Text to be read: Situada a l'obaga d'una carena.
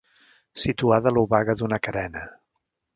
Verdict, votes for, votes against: accepted, 3, 0